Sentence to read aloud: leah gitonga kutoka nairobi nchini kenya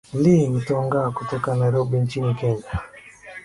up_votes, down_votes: 2, 0